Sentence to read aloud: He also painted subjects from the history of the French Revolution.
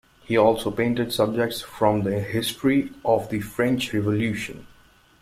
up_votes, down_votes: 2, 0